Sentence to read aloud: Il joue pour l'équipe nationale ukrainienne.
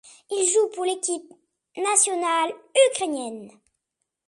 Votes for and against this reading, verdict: 2, 1, accepted